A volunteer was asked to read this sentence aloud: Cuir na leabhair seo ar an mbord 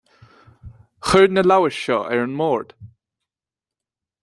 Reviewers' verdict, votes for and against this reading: rejected, 0, 2